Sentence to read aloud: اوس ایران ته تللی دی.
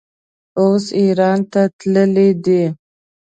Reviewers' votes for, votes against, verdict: 2, 0, accepted